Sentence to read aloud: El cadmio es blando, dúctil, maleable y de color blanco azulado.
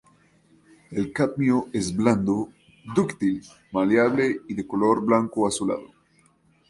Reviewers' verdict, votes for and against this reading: accepted, 2, 0